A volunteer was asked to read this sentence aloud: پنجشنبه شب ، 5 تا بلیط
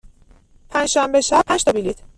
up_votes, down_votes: 0, 2